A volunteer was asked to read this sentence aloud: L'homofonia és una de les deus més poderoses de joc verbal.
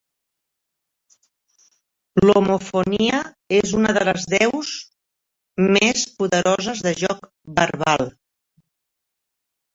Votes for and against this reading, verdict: 0, 2, rejected